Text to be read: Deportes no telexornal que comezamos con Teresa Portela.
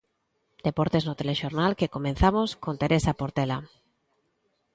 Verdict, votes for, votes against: rejected, 0, 2